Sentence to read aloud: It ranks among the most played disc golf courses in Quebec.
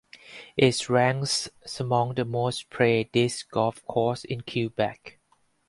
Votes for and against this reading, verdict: 2, 2, rejected